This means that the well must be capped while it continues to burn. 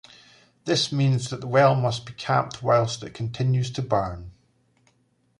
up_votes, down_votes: 1, 2